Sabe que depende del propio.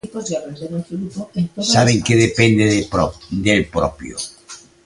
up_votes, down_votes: 0, 2